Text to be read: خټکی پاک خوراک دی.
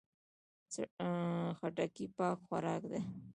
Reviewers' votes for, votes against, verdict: 2, 1, accepted